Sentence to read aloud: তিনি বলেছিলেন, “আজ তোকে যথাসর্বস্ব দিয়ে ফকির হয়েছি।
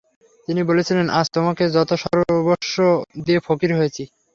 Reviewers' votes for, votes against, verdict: 3, 0, accepted